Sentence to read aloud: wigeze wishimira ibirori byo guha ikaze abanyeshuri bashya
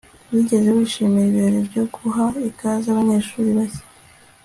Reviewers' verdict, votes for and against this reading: accepted, 2, 0